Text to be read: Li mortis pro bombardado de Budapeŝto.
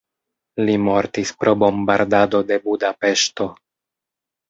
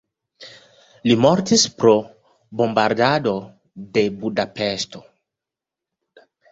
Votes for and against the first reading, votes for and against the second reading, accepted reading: 1, 2, 2, 0, second